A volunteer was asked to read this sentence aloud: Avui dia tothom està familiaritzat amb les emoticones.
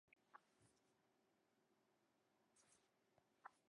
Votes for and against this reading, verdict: 0, 5, rejected